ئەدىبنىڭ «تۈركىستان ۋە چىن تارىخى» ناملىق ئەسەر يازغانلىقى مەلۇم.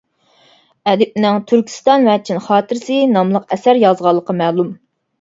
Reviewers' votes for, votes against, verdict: 0, 2, rejected